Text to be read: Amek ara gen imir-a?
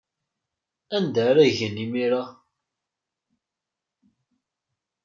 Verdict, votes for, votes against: rejected, 1, 2